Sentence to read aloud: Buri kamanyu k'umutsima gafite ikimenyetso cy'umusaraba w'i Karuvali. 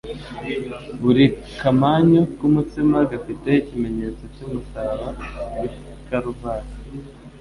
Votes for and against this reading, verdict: 2, 0, accepted